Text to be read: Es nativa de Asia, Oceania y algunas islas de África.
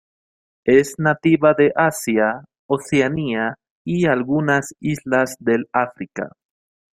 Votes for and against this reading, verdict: 0, 2, rejected